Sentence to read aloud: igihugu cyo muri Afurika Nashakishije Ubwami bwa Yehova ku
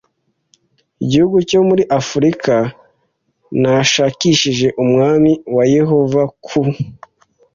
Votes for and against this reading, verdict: 1, 2, rejected